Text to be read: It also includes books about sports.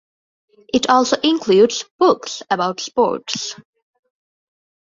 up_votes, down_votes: 2, 0